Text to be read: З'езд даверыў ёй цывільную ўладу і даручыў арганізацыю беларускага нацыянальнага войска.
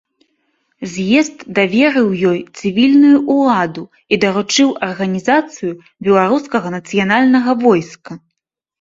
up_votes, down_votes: 3, 0